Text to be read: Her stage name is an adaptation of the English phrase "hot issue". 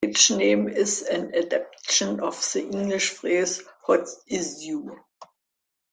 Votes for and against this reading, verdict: 2, 3, rejected